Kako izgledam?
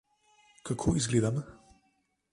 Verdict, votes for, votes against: accepted, 2, 0